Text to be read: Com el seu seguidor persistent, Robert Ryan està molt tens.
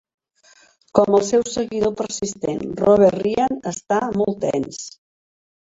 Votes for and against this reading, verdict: 1, 3, rejected